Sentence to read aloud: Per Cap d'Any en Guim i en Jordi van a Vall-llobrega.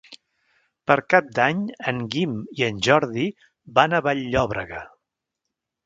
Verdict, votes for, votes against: rejected, 1, 2